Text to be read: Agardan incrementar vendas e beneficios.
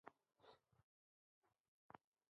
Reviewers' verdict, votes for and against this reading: rejected, 0, 2